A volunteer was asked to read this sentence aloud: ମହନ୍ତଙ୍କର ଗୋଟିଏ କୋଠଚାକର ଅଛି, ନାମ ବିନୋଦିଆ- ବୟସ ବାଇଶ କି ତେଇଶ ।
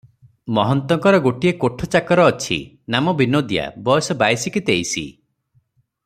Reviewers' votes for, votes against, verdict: 3, 0, accepted